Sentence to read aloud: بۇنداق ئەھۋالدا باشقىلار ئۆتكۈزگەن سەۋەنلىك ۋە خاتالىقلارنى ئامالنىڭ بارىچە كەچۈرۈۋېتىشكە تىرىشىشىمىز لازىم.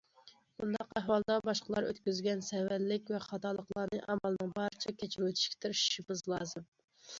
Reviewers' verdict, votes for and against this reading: accepted, 2, 0